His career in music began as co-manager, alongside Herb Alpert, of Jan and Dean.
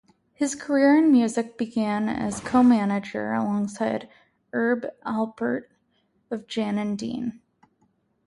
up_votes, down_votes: 2, 2